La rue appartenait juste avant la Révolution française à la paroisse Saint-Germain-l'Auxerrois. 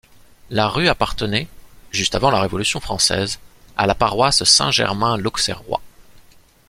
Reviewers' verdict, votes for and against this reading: accepted, 2, 0